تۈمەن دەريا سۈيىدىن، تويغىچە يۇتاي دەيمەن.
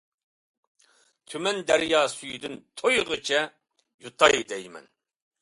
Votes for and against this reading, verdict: 2, 0, accepted